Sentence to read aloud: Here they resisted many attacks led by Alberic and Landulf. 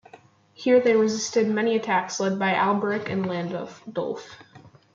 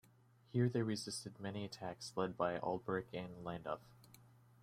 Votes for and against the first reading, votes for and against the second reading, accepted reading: 0, 2, 2, 0, second